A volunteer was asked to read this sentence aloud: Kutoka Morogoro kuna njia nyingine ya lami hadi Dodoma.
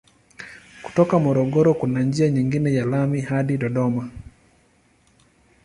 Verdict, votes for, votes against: accepted, 2, 0